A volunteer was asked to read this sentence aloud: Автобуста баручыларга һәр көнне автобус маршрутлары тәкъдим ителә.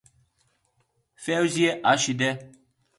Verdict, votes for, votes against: rejected, 1, 2